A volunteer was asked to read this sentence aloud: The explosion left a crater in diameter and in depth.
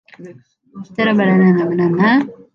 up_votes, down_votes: 0, 2